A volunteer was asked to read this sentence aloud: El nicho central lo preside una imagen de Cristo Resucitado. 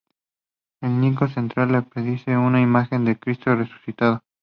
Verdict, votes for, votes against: rejected, 0, 2